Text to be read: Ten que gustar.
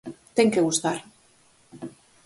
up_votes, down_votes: 4, 0